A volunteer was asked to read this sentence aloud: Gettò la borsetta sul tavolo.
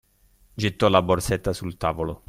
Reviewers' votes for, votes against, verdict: 2, 0, accepted